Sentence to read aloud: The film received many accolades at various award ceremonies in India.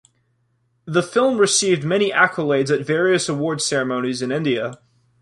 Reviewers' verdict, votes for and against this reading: accepted, 2, 0